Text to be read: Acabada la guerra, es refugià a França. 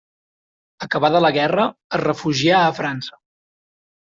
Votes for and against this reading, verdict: 4, 0, accepted